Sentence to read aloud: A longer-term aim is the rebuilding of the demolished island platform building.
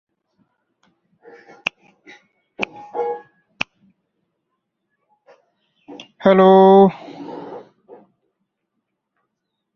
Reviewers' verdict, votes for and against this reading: rejected, 0, 2